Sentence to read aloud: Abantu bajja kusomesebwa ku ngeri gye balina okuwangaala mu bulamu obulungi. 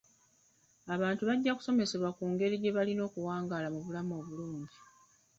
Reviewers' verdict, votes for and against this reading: accepted, 3, 2